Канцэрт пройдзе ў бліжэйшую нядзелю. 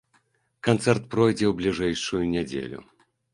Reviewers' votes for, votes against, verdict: 2, 0, accepted